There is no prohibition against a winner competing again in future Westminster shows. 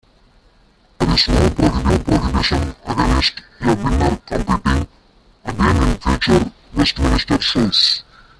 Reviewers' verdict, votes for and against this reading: rejected, 0, 2